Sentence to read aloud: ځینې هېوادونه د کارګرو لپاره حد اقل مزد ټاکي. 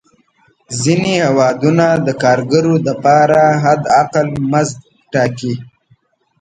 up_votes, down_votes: 1, 2